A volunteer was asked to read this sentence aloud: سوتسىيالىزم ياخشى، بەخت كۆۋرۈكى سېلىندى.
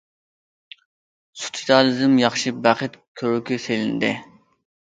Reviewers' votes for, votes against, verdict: 1, 2, rejected